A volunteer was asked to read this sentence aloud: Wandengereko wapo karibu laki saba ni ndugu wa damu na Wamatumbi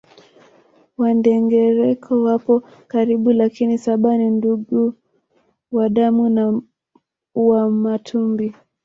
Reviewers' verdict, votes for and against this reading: rejected, 0, 2